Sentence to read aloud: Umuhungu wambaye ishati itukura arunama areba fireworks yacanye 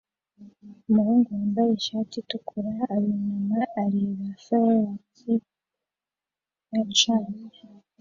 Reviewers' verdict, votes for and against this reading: rejected, 1, 2